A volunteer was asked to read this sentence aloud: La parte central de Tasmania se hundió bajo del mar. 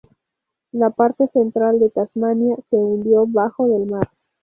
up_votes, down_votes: 2, 0